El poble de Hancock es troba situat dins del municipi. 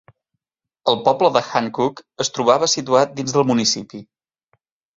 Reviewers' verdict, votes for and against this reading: rejected, 0, 2